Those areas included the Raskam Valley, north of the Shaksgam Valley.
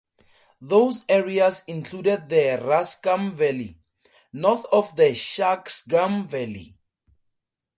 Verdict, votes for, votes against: accepted, 4, 0